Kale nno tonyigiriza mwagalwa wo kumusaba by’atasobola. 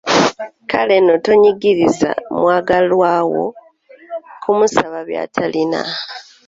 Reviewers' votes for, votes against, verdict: 0, 2, rejected